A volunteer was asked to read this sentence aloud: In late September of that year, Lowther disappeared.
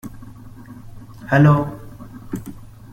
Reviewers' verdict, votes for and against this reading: rejected, 0, 2